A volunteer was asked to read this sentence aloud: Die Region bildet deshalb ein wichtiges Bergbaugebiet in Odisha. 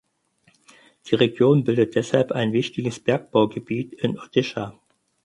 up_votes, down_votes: 6, 0